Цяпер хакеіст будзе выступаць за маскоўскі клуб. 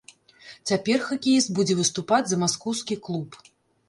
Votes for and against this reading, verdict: 2, 0, accepted